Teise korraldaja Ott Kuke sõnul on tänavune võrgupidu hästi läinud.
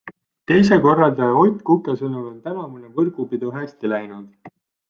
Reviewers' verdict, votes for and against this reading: accepted, 2, 0